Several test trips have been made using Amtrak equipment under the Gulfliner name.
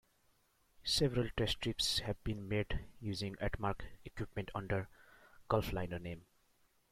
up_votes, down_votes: 0, 2